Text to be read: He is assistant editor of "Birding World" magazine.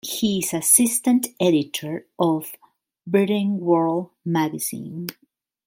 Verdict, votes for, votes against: rejected, 0, 2